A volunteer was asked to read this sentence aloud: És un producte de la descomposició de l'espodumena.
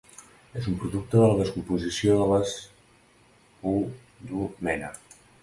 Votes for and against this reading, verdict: 0, 2, rejected